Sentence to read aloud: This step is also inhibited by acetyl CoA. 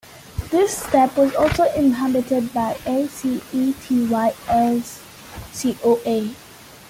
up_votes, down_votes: 1, 2